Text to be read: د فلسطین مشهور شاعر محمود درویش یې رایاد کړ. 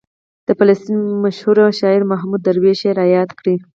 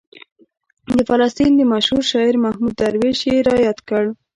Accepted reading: first